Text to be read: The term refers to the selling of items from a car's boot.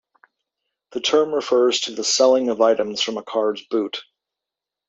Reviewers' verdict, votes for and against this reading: accepted, 2, 0